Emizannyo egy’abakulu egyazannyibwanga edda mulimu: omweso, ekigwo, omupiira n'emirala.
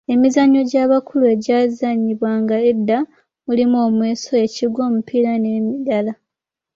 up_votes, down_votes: 2, 0